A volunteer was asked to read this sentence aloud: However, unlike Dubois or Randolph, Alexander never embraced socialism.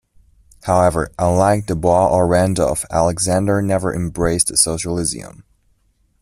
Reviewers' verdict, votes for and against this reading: rejected, 1, 2